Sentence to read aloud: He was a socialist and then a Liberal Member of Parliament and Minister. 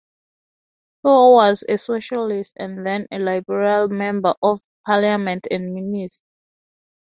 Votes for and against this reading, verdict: 0, 4, rejected